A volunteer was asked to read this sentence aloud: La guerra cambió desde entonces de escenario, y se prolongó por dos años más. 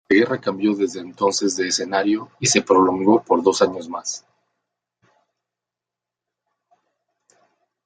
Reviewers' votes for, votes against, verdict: 1, 2, rejected